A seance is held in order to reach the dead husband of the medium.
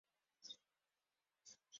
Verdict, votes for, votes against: rejected, 0, 4